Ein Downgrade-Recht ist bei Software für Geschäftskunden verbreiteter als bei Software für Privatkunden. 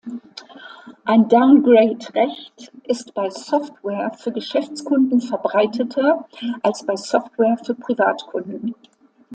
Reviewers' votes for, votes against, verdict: 2, 0, accepted